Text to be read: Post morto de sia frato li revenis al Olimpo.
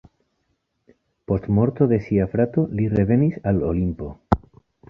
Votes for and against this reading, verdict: 2, 0, accepted